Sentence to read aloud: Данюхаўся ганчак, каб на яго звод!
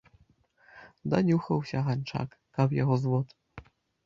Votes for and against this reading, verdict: 0, 2, rejected